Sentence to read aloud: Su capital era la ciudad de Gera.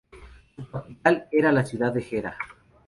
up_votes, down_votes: 0, 2